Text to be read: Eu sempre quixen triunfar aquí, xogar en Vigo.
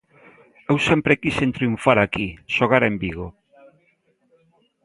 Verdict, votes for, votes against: accepted, 2, 0